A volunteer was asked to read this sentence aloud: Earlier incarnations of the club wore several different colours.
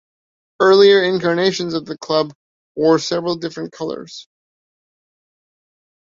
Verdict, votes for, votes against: accepted, 2, 0